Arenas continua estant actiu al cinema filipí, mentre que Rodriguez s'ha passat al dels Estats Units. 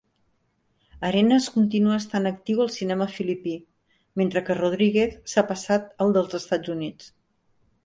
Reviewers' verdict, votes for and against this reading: accepted, 3, 0